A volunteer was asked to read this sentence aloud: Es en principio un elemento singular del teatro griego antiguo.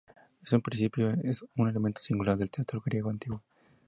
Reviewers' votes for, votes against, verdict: 0, 2, rejected